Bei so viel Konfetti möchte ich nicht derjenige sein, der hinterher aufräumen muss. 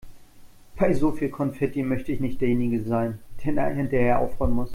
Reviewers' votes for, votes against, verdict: 0, 2, rejected